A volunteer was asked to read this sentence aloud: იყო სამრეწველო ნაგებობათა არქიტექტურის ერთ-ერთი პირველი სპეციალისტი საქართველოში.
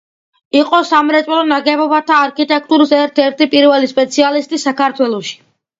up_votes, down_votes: 2, 0